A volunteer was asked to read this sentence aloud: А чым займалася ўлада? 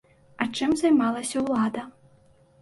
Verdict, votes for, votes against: accepted, 2, 0